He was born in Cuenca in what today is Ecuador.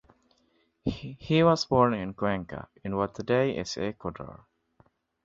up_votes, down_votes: 2, 0